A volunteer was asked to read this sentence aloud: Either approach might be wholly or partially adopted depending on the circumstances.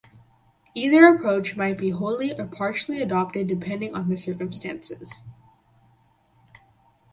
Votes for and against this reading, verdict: 4, 0, accepted